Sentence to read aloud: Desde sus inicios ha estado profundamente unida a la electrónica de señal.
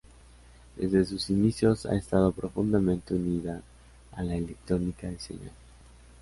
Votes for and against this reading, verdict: 2, 0, accepted